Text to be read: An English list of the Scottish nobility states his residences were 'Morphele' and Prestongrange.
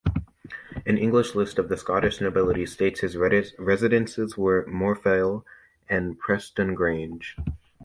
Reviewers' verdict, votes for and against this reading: rejected, 1, 2